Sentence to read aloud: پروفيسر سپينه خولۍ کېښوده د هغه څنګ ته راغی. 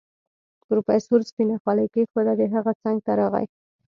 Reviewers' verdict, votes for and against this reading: accepted, 2, 0